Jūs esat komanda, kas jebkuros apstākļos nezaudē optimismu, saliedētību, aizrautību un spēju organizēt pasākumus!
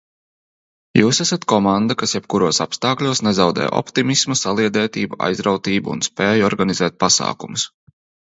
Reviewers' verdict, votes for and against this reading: accepted, 2, 0